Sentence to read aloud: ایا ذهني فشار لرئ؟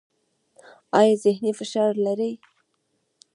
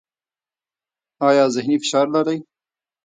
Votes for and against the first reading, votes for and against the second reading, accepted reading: 1, 2, 2, 0, second